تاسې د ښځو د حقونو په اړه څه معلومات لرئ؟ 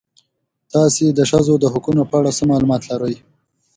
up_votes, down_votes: 3, 0